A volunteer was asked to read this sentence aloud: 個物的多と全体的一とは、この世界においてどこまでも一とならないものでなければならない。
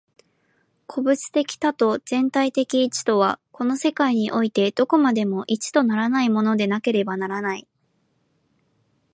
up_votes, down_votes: 11, 0